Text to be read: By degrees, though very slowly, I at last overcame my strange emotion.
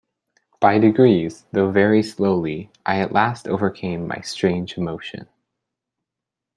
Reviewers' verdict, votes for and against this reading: accepted, 2, 0